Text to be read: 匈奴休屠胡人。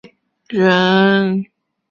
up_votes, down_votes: 0, 7